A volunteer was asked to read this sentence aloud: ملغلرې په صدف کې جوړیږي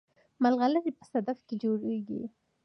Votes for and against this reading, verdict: 2, 0, accepted